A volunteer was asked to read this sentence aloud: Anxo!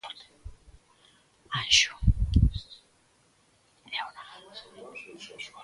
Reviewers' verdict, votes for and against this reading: rejected, 0, 2